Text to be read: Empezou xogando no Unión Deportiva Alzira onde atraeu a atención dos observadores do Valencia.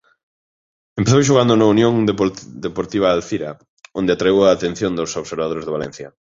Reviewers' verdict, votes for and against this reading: rejected, 0, 2